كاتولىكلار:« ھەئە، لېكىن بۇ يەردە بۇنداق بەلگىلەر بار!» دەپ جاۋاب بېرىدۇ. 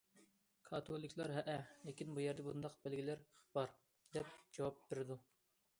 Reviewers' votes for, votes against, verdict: 2, 0, accepted